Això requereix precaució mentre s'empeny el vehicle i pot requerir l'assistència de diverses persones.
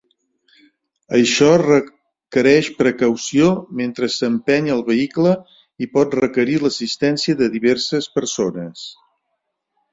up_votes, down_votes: 2, 1